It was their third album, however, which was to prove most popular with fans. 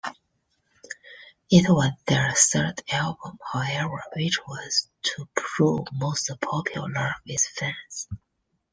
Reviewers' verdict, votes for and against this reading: rejected, 0, 2